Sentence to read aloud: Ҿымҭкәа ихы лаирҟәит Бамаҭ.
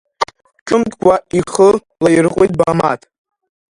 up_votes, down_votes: 1, 2